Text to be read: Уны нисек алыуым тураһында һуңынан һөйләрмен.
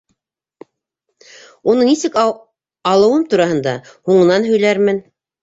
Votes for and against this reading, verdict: 1, 2, rejected